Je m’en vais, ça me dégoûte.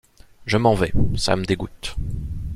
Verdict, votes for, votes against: accepted, 2, 0